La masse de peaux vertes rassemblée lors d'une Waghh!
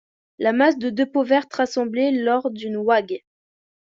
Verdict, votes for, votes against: rejected, 0, 3